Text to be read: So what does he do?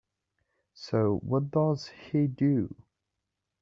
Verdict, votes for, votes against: accepted, 3, 0